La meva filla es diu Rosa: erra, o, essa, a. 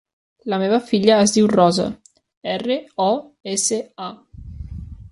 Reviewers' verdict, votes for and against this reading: rejected, 0, 2